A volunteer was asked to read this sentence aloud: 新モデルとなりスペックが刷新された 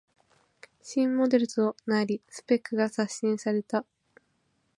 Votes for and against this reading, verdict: 5, 1, accepted